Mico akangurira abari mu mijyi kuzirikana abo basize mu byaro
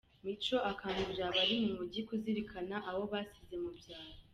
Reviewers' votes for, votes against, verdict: 2, 0, accepted